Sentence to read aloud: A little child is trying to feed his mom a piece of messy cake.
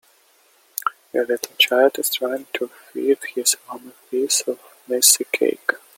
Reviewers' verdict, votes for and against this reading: rejected, 0, 2